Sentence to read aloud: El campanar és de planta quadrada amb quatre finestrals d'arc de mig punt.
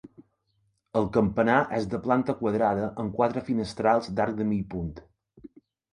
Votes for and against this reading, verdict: 2, 0, accepted